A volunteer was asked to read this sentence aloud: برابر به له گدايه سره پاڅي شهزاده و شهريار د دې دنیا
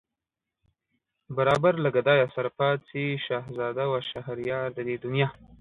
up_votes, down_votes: 0, 2